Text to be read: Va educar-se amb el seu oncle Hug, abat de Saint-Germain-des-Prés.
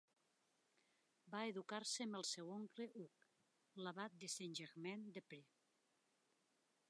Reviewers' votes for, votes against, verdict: 0, 2, rejected